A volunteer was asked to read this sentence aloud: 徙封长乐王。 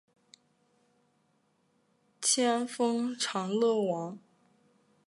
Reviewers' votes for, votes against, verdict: 0, 2, rejected